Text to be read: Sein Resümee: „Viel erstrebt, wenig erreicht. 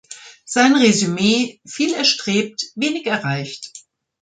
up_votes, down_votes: 2, 0